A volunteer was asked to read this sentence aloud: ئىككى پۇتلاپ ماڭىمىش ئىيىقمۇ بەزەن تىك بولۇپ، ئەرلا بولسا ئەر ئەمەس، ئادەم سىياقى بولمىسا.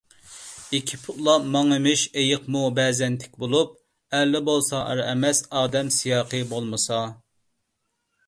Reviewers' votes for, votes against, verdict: 2, 0, accepted